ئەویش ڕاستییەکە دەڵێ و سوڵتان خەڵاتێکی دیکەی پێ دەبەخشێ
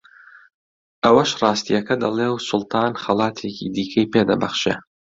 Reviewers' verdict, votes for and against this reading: accepted, 2, 1